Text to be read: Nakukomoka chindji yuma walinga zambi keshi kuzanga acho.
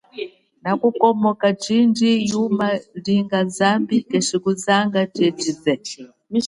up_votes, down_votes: 1, 2